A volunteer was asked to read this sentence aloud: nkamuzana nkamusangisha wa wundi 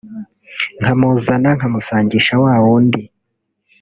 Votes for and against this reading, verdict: 2, 0, accepted